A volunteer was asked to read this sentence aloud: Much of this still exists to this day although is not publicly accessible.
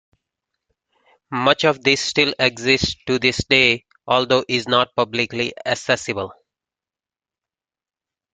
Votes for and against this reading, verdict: 1, 2, rejected